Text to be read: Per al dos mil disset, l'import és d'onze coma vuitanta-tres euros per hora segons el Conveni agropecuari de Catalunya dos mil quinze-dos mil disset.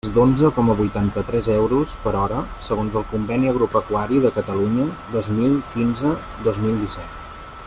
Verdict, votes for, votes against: rejected, 1, 2